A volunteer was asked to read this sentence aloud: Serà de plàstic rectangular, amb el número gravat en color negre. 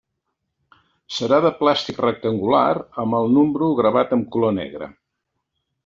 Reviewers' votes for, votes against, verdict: 2, 1, accepted